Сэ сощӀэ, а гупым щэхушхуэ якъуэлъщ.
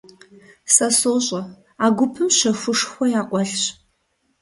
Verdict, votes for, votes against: accepted, 3, 0